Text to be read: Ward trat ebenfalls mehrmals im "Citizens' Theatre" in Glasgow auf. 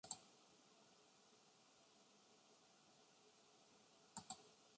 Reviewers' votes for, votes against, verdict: 0, 2, rejected